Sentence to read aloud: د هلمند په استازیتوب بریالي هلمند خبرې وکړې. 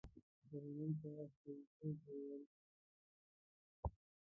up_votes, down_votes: 0, 2